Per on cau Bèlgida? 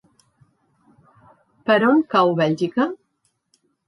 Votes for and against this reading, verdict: 1, 2, rejected